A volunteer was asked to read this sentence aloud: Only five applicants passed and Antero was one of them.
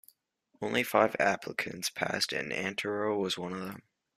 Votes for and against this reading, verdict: 2, 1, accepted